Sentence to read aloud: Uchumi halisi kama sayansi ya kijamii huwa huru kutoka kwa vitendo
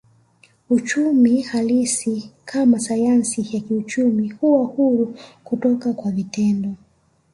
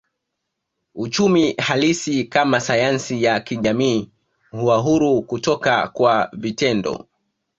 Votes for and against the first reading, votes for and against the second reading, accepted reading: 1, 2, 2, 0, second